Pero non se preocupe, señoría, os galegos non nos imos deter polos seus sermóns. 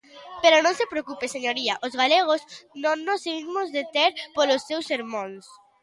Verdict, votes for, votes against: accepted, 2, 1